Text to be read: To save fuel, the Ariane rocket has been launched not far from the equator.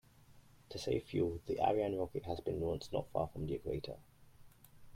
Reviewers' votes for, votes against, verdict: 2, 0, accepted